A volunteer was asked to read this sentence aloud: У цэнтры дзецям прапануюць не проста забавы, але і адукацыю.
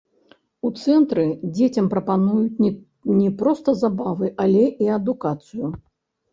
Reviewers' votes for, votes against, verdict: 0, 2, rejected